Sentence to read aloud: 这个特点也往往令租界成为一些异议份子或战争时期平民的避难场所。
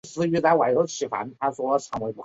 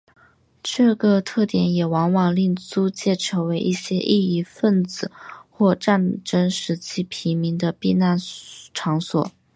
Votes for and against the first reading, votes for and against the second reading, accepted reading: 1, 2, 6, 0, second